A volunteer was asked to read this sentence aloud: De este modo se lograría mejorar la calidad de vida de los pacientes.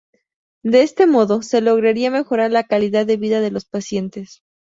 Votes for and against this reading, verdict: 2, 0, accepted